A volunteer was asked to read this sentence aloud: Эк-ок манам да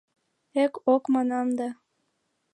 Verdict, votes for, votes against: accepted, 2, 1